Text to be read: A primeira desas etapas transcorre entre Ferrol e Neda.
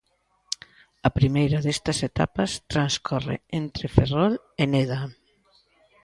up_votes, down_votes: 0, 2